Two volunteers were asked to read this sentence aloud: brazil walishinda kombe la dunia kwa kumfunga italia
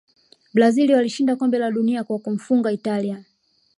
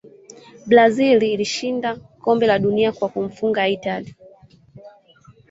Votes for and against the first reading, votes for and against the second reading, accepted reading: 2, 0, 1, 2, first